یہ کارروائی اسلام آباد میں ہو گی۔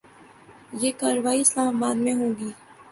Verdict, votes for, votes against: accepted, 2, 0